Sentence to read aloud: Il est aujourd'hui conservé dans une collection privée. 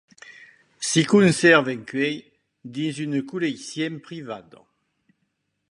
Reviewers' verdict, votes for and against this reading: rejected, 0, 2